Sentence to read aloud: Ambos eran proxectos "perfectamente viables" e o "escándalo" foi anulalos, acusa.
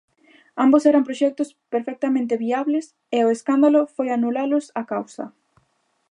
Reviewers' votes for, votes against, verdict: 0, 2, rejected